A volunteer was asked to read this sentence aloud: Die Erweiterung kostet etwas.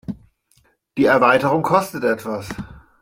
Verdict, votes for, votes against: accepted, 2, 0